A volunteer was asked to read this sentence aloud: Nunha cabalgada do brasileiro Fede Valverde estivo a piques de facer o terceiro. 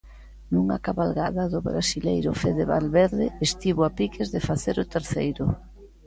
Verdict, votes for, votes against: accepted, 2, 0